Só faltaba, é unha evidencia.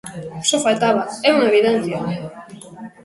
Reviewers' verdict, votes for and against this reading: accepted, 2, 1